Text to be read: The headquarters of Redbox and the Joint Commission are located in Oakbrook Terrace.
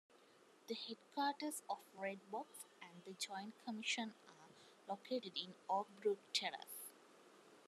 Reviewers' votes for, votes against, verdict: 2, 1, accepted